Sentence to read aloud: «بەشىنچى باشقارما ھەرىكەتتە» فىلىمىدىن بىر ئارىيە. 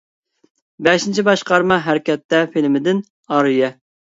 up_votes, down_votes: 1, 2